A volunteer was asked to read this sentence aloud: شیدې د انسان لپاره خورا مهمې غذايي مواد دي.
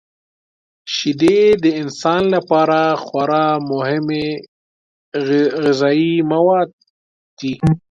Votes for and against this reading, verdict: 3, 4, rejected